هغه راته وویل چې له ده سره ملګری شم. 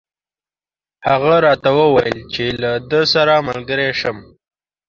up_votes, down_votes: 2, 0